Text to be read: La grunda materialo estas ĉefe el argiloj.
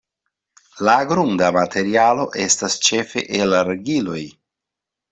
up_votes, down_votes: 2, 0